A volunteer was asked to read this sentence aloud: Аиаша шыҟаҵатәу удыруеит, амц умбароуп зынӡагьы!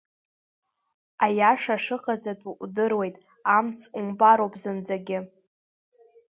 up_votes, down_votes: 2, 0